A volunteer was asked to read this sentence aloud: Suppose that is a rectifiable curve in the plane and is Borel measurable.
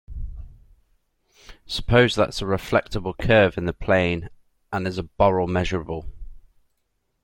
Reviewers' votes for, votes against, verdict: 0, 2, rejected